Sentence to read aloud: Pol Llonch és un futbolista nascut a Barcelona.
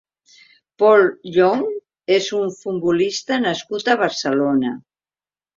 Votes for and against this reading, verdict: 2, 0, accepted